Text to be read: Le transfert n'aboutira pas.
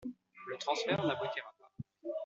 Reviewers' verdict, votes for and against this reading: rejected, 0, 2